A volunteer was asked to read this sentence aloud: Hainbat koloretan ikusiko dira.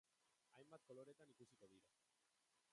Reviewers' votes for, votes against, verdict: 0, 2, rejected